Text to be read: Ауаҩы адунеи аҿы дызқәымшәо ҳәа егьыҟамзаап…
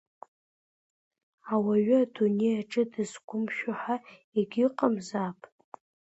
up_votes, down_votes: 3, 0